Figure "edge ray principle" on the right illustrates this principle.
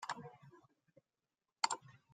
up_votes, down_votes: 0, 2